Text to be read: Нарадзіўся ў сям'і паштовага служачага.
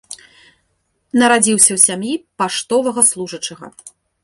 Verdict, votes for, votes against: accepted, 3, 0